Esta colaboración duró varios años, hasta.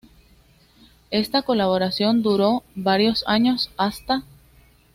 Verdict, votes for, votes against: accepted, 2, 0